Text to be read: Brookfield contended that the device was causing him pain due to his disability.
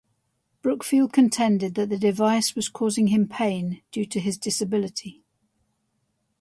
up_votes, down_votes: 2, 0